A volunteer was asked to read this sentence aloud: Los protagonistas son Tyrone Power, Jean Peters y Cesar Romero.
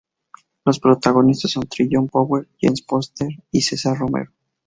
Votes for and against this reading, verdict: 0, 4, rejected